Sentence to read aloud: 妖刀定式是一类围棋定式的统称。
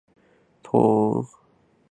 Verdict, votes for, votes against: rejected, 2, 5